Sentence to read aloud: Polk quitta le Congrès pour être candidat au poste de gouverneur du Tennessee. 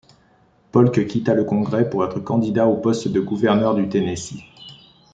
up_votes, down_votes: 2, 0